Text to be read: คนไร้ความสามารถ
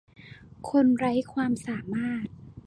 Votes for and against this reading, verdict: 2, 0, accepted